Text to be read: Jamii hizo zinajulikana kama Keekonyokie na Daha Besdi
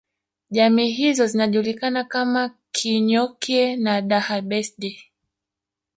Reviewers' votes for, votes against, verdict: 1, 2, rejected